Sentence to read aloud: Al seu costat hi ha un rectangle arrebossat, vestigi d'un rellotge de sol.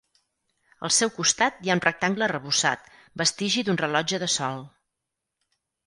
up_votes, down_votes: 2, 4